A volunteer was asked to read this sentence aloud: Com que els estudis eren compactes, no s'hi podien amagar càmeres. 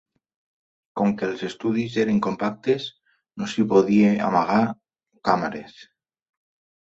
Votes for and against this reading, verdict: 0, 2, rejected